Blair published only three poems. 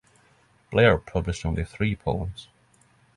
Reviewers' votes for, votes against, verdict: 3, 0, accepted